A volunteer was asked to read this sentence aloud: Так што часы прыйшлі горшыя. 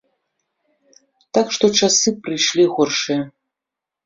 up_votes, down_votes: 2, 0